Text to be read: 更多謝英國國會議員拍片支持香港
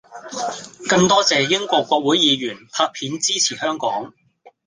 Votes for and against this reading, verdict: 2, 0, accepted